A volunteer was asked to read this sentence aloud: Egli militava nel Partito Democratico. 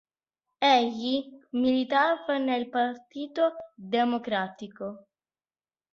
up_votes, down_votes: 2, 0